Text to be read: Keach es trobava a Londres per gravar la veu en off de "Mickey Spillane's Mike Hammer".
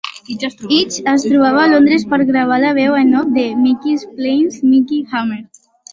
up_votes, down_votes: 0, 2